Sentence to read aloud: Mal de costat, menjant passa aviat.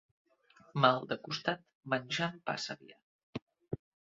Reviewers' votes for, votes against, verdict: 0, 2, rejected